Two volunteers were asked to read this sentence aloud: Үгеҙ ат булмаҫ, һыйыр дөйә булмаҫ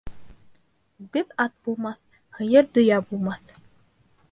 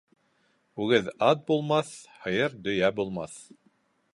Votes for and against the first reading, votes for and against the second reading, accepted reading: 0, 2, 2, 0, second